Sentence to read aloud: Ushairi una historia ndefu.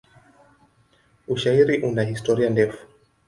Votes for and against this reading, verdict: 2, 0, accepted